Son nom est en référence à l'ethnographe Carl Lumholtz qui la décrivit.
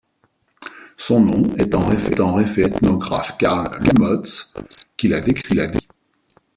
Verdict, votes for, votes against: rejected, 0, 2